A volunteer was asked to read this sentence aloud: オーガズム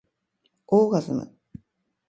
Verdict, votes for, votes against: accepted, 2, 0